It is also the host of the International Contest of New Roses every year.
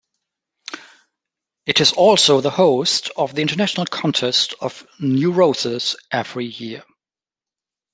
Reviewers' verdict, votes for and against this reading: accepted, 2, 0